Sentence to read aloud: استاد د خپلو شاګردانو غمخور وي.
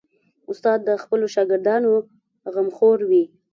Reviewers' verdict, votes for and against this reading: accepted, 3, 0